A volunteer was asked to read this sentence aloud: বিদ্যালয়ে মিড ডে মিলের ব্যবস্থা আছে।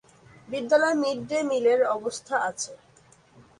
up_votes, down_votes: 0, 2